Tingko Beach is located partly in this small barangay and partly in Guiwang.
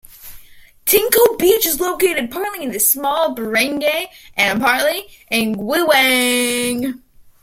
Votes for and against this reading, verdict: 2, 1, accepted